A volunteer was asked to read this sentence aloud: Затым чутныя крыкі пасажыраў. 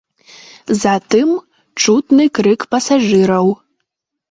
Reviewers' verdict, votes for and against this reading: rejected, 1, 2